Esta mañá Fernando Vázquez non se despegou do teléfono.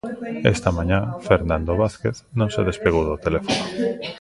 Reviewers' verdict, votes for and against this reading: rejected, 0, 2